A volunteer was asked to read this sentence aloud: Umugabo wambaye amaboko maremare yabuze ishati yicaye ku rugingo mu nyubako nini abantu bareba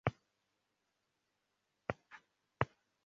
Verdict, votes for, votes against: rejected, 0, 2